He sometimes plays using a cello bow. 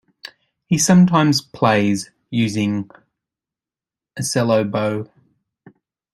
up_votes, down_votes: 0, 2